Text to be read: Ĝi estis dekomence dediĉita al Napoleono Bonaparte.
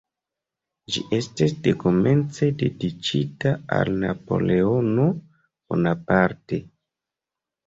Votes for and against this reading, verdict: 2, 0, accepted